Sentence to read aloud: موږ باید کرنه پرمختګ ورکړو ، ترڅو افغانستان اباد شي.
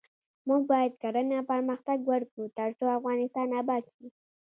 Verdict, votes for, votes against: accepted, 2, 0